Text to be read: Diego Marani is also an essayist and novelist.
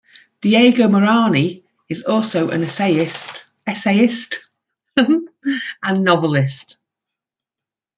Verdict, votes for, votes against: rejected, 1, 2